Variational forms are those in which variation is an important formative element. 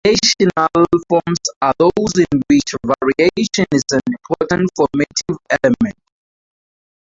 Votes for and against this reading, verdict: 2, 0, accepted